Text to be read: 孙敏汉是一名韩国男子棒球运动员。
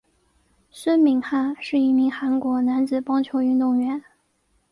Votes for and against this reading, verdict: 2, 0, accepted